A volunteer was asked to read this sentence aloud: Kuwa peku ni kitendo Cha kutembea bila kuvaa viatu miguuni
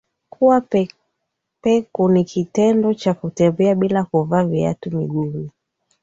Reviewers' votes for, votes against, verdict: 2, 1, accepted